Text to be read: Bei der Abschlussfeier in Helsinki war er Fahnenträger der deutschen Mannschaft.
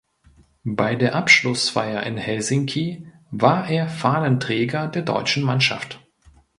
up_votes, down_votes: 2, 0